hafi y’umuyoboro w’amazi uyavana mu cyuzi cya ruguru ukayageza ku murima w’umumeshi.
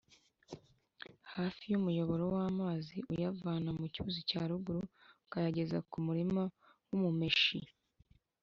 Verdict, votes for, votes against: accepted, 2, 0